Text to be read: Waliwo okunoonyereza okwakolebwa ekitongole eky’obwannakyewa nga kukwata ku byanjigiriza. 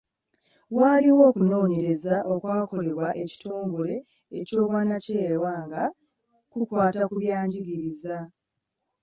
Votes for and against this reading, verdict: 3, 0, accepted